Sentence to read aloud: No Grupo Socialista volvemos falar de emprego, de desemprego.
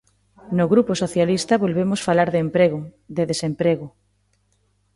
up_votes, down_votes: 2, 0